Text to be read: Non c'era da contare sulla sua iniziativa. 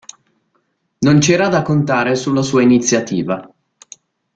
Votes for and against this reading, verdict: 2, 0, accepted